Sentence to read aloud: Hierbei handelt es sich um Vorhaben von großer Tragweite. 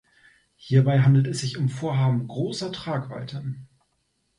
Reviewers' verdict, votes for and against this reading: rejected, 0, 2